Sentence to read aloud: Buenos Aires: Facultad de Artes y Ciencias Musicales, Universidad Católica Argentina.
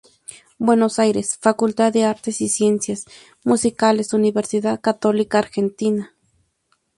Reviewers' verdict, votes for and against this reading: accepted, 2, 0